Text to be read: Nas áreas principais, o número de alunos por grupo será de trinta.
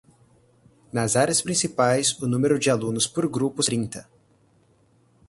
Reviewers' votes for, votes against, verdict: 0, 4, rejected